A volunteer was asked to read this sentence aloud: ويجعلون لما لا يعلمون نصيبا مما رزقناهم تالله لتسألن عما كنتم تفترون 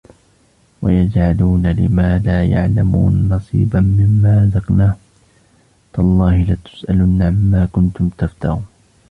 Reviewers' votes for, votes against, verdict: 1, 2, rejected